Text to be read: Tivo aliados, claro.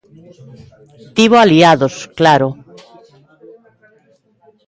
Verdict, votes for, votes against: accepted, 2, 0